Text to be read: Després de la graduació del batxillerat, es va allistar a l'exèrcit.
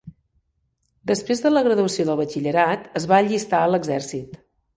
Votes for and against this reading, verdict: 1, 2, rejected